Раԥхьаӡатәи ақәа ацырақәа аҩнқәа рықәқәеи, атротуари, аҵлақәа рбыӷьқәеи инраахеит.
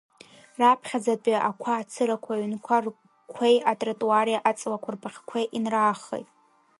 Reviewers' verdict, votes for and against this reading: rejected, 1, 2